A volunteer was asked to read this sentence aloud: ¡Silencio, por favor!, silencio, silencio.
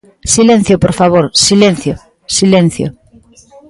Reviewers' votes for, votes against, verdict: 1, 2, rejected